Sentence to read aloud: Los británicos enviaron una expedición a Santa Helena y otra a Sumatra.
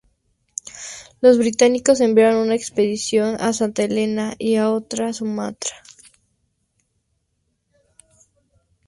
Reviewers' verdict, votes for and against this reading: accepted, 2, 0